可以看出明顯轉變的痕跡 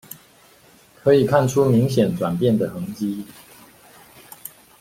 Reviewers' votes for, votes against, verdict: 2, 0, accepted